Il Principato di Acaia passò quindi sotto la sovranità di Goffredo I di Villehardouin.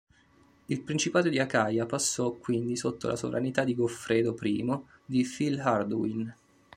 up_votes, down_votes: 0, 2